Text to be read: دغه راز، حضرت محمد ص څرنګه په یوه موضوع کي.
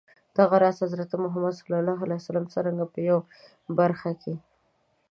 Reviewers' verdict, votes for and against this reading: rejected, 0, 2